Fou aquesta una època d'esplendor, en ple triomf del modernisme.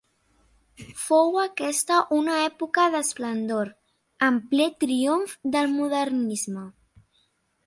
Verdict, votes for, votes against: accepted, 2, 0